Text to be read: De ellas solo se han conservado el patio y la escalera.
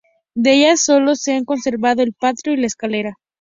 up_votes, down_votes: 2, 0